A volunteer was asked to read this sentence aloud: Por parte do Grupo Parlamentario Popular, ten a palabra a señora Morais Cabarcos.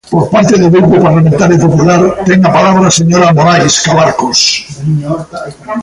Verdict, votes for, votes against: rejected, 0, 2